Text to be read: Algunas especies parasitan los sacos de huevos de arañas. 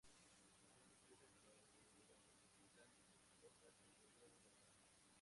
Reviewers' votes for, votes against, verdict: 0, 2, rejected